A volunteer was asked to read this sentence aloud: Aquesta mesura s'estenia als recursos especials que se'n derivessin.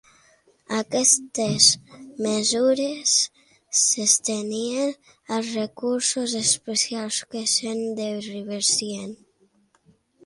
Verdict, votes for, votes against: rejected, 0, 2